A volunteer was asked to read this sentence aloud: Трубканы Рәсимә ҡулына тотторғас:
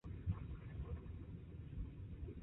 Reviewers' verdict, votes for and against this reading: rejected, 0, 2